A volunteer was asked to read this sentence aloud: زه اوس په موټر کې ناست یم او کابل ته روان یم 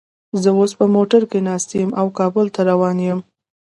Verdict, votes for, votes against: accepted, 2, 1